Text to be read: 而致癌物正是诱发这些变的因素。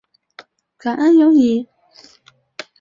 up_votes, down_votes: 0, 3